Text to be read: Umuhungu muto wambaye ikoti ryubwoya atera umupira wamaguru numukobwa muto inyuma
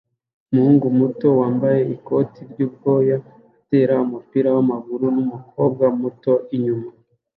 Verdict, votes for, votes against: accepted, 2, 0